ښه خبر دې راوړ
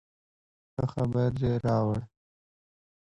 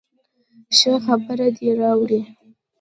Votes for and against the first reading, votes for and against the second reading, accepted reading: 2, 0, 1, 2, first